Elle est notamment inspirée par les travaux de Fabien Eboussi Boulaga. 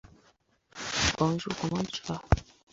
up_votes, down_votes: 0, 2